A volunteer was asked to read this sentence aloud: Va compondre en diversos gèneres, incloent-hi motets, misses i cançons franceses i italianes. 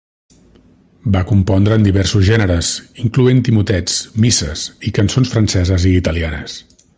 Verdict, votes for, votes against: accepted, 2, 0